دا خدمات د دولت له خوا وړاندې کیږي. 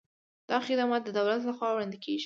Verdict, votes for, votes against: accepted, 2, 0